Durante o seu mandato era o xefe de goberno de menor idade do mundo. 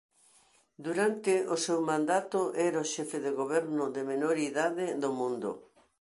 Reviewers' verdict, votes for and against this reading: accepted, 2, 0